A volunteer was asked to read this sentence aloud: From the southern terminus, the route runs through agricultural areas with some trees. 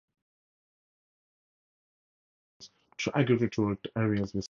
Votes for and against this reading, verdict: 0, 2, rejected